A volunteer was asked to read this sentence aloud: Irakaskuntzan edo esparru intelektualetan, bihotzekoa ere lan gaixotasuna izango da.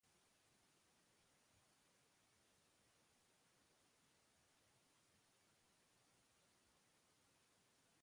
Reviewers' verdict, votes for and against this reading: rejected, 0, 3